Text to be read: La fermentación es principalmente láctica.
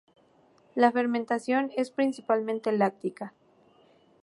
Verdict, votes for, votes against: accepted, 2, 0